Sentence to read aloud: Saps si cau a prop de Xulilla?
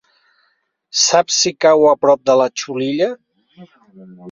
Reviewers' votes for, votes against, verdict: 0, 2, rejected